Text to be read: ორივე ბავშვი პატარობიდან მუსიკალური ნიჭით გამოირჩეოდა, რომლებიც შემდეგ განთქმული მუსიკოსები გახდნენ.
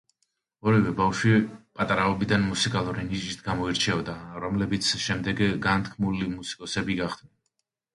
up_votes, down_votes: 0, 2